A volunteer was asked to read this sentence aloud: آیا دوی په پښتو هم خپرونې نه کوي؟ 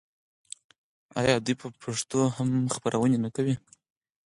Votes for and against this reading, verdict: 0, 4, rejected